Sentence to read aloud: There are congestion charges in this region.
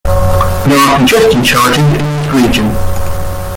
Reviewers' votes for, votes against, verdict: 0, 2, rejected